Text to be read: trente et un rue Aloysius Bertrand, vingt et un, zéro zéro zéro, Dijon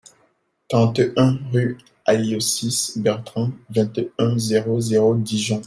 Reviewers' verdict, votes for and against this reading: rejected, 1, 2